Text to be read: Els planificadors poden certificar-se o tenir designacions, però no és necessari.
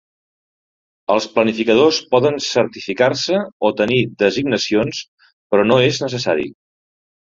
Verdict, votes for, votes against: accepted, 2, 0